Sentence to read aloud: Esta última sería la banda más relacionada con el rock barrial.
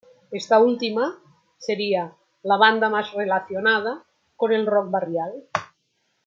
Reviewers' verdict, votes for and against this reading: accepted, 2, 1